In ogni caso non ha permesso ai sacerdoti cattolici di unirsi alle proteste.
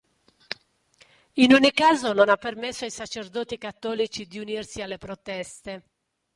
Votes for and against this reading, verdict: 2, 0, accepted